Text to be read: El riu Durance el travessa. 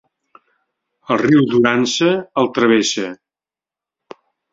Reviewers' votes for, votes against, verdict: 2, 0, accepted